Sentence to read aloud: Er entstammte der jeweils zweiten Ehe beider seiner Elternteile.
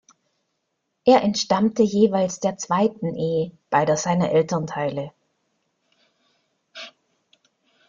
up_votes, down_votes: 0, 2